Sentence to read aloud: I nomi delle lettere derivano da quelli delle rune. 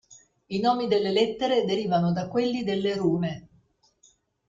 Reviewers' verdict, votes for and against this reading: accepted, 2, 0